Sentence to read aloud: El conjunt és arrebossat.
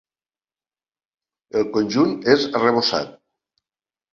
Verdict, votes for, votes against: accepted, 4, 0